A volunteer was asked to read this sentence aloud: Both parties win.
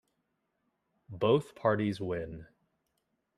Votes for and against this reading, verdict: 2, 0, accepted